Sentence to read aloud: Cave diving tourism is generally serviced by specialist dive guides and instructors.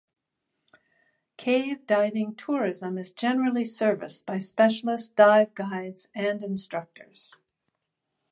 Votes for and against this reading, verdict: 2, 0, accepted